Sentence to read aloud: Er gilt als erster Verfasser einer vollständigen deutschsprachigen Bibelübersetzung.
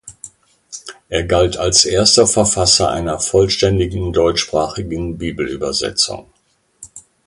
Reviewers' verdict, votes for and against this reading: rejected, 1, 2